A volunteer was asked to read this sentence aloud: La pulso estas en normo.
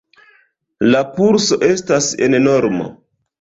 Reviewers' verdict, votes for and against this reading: accepted, 2, 0